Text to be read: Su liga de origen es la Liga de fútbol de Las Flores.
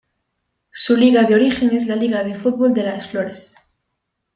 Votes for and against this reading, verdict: 2, 0, accepted